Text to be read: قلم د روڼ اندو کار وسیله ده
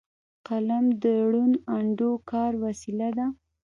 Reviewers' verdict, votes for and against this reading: accepted, 2, 0